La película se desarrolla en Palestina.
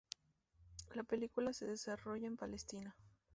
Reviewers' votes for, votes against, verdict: 0, 2, rejected